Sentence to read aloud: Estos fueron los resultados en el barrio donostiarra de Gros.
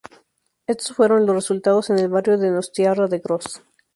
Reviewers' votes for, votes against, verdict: 2, 0, accepted